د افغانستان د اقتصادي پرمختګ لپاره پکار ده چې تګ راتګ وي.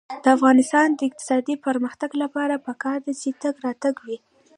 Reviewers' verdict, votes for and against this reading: rejected, 0, 2